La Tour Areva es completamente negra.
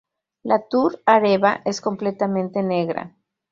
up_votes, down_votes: 2, 0